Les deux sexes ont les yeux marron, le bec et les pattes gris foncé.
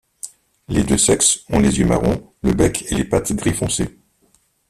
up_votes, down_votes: 1, 2